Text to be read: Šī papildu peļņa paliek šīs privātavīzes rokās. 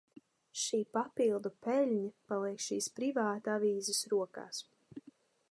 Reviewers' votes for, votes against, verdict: 2, 0, accepted